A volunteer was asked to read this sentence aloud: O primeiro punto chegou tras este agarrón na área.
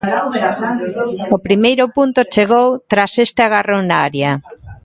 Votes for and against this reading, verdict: 0, 2, rejected